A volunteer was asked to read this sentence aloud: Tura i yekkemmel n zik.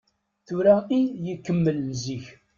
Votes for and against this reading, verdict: 1, 2, rejected